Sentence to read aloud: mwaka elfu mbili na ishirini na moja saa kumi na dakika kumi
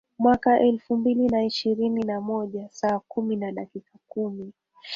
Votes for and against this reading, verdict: 3, 2, accepted